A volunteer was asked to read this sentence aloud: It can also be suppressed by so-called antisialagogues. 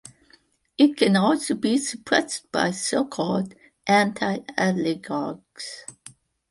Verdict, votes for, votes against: rejected, 0, 2